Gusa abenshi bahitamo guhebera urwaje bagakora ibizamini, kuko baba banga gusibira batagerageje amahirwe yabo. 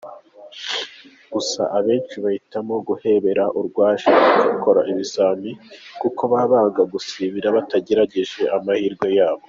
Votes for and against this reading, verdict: 2, 0, accepted